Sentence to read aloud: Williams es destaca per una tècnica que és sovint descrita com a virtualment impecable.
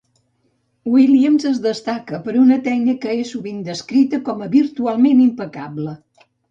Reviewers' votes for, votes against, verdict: 1, 2, rejected